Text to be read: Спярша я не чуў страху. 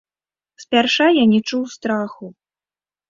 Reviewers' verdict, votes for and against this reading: accepted, 2, 0